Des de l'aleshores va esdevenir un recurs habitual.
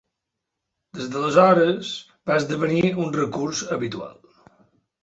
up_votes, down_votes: 3, 0